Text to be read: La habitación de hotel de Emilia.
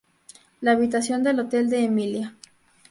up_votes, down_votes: 2, 0